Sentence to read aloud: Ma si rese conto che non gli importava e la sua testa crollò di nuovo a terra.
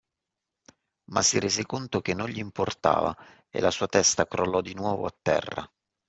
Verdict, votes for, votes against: accepted, 2, 0